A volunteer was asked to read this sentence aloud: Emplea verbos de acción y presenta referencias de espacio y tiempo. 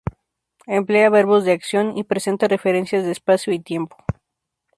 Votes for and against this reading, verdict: 2, 0, accepted